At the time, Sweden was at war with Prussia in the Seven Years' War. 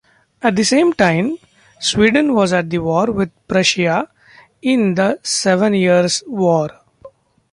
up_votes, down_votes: 0, 2